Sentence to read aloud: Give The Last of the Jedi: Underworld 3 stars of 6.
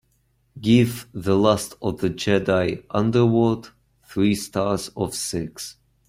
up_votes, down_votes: 0, 2